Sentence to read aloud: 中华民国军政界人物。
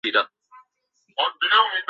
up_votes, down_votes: 1, 2